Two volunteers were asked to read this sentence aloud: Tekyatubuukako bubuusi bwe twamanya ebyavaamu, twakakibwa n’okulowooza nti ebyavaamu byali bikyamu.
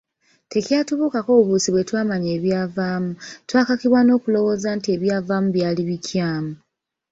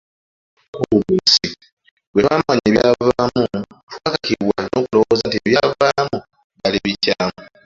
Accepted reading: first